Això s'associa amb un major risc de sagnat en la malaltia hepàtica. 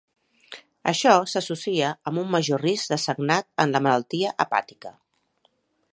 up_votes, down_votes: 2, 0